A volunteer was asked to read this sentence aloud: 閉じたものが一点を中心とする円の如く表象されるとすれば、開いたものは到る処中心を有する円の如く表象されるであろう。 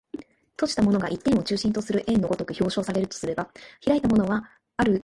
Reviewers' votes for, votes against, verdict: 2, 1, accepted